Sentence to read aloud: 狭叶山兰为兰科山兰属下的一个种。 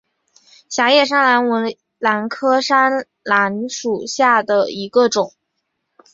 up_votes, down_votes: 3, 1